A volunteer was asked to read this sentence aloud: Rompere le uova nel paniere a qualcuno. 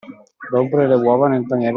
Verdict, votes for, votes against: rejected, 0, 2